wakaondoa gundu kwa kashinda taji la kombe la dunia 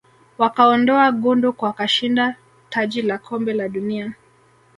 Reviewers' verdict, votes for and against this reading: rejected, 1, 2